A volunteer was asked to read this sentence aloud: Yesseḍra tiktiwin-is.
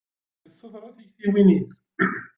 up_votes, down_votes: 0, 2